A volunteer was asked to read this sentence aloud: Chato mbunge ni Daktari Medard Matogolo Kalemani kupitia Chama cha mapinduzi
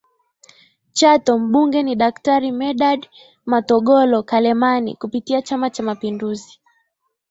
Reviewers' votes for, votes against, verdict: 2, 0, accepted